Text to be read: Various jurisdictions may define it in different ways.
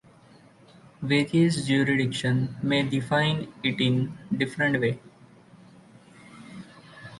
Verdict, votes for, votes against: rejected, 0, 2